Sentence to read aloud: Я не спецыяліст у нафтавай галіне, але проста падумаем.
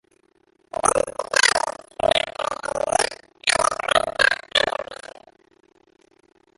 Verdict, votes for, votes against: rejected, 0, 2